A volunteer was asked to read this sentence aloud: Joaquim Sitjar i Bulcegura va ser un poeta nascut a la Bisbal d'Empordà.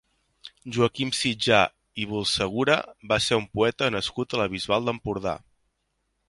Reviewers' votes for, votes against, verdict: 4, 0, accepted